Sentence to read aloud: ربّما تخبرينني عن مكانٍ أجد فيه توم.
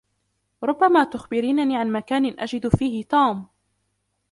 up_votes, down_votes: 2, 0